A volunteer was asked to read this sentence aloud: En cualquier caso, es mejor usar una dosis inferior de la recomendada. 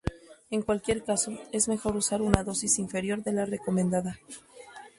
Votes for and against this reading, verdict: 2, 0, accepted